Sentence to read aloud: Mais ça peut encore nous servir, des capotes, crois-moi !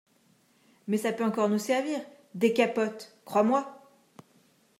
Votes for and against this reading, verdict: 2, 0, accepted